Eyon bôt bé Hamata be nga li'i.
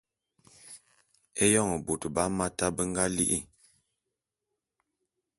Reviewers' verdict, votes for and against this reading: accepted, 2, 0